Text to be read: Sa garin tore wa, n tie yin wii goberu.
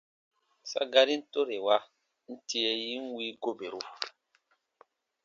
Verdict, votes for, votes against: accepted, 2, 0